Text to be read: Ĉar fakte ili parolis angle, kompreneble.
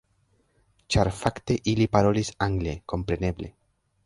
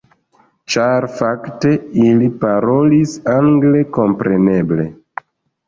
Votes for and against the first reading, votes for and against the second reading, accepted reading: 3, 0, 1, 2, first